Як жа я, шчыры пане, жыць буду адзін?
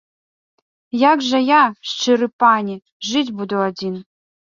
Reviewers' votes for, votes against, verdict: 2, 0, accepted